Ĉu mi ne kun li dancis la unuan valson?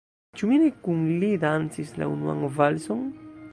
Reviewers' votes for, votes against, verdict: 0, 2, rejected